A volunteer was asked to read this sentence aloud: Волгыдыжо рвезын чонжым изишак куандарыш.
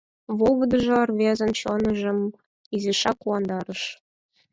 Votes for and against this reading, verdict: 4, 0, accepted